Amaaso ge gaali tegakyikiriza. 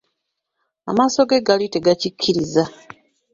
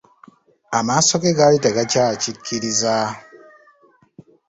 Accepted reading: first